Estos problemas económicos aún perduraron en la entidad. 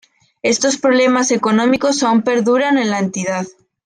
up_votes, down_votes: 0, 2